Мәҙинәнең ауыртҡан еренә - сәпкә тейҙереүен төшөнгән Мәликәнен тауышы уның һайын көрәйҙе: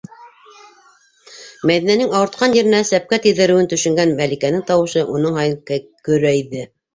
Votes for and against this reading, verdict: 0, 2, rejected